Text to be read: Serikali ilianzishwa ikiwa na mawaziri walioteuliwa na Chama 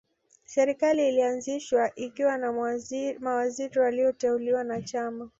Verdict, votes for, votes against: rejected, 0, 2